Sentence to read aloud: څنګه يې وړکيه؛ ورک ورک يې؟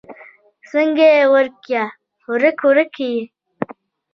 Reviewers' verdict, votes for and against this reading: accepted, 2, 0